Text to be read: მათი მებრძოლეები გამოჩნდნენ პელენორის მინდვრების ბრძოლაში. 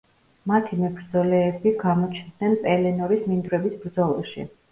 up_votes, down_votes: 1, 2